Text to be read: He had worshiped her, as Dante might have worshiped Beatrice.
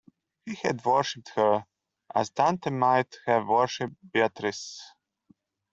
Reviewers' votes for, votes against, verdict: 2, 0, accepted